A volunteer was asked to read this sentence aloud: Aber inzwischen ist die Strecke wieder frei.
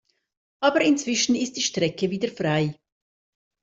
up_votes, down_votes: 2, 0